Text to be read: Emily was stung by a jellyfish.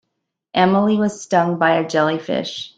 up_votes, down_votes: 2, 0